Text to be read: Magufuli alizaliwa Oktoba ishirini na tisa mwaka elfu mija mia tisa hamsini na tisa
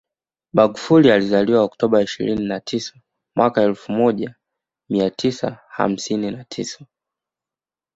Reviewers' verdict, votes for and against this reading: accepted, 2, 0